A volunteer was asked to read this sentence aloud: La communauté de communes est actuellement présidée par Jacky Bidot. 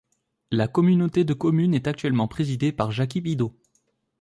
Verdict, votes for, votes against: accepted, 2, 0